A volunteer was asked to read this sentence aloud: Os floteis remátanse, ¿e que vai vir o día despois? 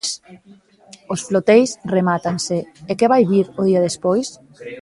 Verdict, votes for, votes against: rejected, 1, 2